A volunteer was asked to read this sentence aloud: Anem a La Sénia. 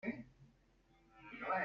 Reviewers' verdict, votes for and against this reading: rejected, 0, 2